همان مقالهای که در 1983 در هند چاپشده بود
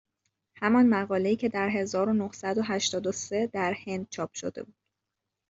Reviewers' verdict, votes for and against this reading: rejected, 0, 2